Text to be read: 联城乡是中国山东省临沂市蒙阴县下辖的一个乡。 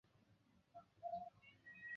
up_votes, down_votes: 0, 4